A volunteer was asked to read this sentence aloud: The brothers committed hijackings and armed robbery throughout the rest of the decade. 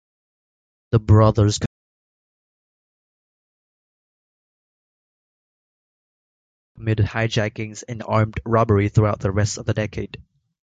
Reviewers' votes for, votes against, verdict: 1, 2, rejected